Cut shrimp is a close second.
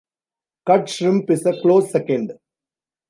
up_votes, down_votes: 2, 0